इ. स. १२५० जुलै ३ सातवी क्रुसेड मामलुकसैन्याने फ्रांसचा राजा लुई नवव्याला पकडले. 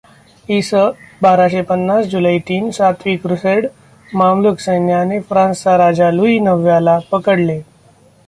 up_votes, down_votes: 0, 2